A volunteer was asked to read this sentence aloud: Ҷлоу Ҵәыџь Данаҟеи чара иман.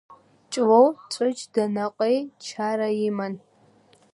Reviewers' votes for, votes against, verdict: 2, 1, accepted